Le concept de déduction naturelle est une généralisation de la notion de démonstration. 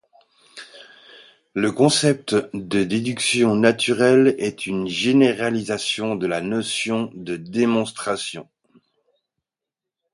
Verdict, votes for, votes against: accepted, 2, 0